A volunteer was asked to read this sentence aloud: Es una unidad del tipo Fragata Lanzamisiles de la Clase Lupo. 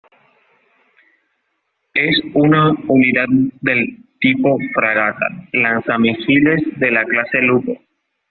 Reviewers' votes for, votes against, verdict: 2, 0, accepted